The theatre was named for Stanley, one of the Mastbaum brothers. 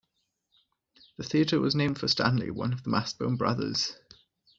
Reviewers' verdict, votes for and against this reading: accepted, 2, 1